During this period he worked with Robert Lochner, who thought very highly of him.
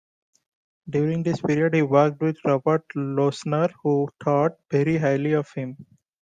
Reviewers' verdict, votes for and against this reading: accepted, 2, 0